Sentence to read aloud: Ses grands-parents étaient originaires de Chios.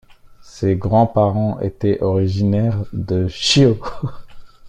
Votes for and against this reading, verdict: 1, 2, rejected